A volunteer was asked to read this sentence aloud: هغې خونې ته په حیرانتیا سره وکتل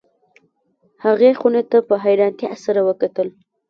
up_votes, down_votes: 1, 2